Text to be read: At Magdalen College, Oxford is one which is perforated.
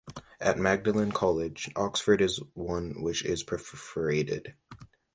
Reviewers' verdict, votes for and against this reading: accepted, 2, 0